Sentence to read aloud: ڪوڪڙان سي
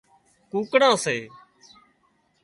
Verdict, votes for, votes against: accepted, 2, 0